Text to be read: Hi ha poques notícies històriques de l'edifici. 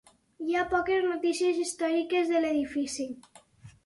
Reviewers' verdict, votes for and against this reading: accepted, 4, 0